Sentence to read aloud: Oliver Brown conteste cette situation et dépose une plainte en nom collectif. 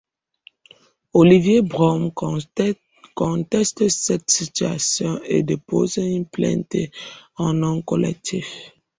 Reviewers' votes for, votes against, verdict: 0, 2, rejected